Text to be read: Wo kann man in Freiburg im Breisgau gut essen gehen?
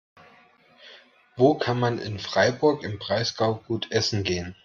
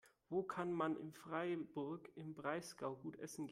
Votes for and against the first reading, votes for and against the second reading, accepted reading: 2, 0, 0, 2, first